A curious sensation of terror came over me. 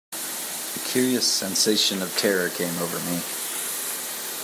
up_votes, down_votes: 2, 0